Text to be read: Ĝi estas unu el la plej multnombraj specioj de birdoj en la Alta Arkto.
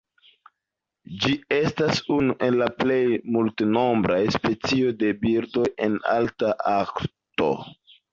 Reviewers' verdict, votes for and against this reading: rejected, 1, 2